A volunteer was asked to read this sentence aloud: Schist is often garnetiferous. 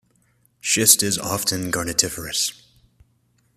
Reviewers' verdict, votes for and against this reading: accepted, 2, 0